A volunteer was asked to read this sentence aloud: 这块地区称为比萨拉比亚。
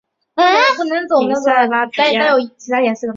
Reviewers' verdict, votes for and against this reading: rejected, 0, 4